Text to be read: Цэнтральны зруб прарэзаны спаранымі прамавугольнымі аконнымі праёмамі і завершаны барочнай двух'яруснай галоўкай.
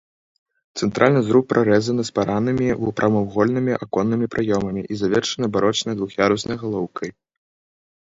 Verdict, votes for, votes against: rejected, 0, 2